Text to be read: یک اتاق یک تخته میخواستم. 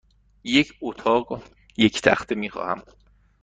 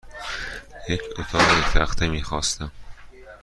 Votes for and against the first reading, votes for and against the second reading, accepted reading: 1, 2, 2, 0, second